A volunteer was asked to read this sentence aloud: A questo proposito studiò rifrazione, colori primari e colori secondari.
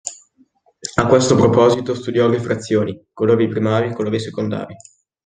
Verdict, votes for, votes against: rejected, 0, 2